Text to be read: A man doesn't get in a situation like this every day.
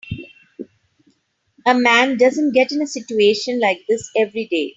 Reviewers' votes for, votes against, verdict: 3, 0, accepted